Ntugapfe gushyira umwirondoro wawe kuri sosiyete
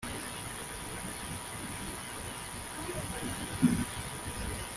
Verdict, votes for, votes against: rejected, 0, 2